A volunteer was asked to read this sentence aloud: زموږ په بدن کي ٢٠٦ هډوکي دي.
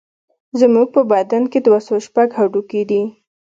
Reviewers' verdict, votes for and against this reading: rejected, 0, 2